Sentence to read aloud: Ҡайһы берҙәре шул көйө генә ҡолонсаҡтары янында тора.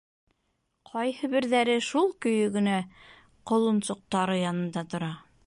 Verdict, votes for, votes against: rejected, 0, 2